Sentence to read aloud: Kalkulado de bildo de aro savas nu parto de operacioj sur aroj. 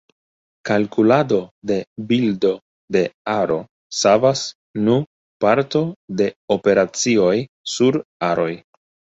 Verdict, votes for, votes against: accepted, 3, 0